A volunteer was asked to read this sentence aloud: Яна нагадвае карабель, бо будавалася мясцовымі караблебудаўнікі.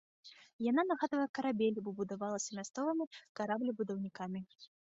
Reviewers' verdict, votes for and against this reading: accepted, 2, 0